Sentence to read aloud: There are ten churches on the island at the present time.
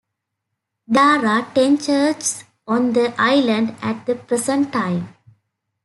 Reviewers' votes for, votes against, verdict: 0, 2, rejected